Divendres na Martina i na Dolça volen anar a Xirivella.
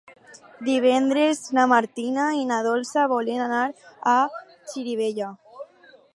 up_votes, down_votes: 2, 0